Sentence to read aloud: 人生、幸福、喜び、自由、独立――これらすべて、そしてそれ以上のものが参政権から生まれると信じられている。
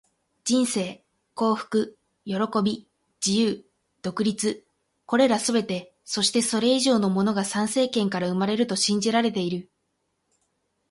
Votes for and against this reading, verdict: 8, 0, accepted